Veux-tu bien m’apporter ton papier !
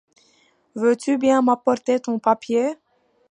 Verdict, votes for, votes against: accepted, 2, 0